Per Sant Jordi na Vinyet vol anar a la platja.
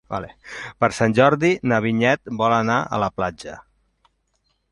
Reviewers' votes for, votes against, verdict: 1, 2, rejected